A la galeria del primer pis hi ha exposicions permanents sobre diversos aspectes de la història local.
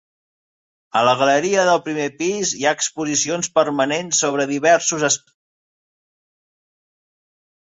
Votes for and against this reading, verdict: 0, 2, rejected